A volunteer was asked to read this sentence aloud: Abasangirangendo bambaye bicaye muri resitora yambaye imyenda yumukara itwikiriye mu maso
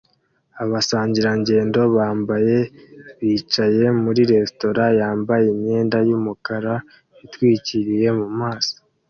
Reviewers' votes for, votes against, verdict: 2, 1, accepted